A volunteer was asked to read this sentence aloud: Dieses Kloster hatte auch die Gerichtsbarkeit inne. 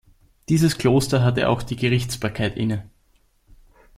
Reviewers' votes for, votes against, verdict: 2, 0, accepted